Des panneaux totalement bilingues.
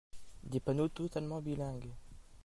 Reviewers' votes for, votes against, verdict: 2, 0, accepted